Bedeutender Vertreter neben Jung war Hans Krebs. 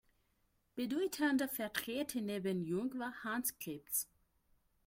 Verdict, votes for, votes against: rejected, 1, 2